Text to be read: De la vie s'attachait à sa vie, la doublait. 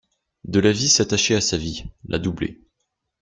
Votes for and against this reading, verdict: 2, 0, accepted